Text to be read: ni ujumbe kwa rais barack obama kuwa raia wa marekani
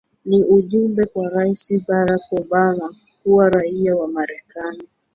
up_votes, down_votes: 1, 2